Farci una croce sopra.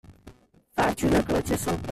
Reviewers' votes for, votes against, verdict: 1, 2, rejected